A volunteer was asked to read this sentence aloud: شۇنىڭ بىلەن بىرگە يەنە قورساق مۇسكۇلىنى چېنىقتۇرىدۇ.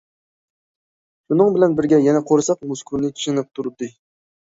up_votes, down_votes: 0, 2